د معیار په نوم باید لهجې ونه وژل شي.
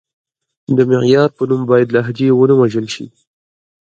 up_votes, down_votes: 1, 2